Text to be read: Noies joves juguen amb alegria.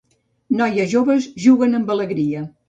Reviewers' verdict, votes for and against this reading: accepted, 2, 0